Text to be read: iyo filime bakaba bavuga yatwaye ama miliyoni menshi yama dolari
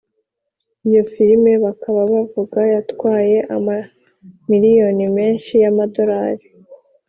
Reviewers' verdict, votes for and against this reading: accepted, 3, 0